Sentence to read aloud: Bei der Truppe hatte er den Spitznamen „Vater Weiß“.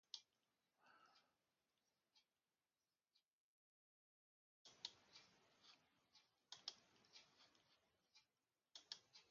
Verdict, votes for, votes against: rejected, 0, 2